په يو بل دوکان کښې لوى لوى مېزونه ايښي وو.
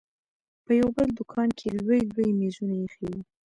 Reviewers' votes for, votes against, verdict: 2, 0, accepted